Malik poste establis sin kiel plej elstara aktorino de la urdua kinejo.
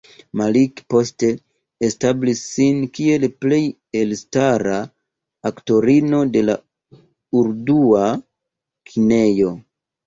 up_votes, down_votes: 2, 0